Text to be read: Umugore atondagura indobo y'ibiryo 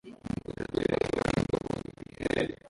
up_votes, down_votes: 0, 2